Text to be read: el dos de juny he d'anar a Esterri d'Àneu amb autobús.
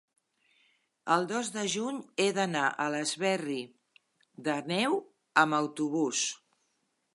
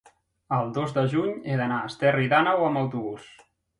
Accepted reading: second